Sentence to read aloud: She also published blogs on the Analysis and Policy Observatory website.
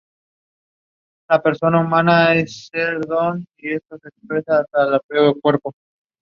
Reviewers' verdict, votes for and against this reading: rejected, 0, 2